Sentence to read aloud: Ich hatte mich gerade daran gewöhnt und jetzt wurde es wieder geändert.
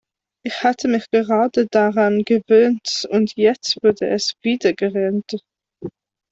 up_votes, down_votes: 1, 3